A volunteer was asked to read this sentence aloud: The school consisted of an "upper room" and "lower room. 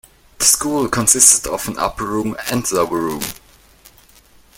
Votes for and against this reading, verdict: 1, 2, rejected